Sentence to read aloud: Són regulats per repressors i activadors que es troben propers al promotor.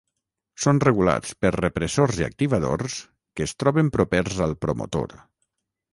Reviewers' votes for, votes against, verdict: 0, 3, rejected